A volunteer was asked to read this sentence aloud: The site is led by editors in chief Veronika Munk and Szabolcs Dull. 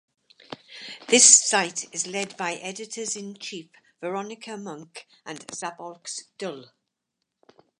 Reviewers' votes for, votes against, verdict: 0, 4, rejected